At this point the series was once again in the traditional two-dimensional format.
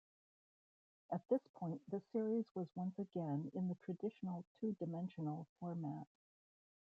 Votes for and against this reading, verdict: 0, 2, rejected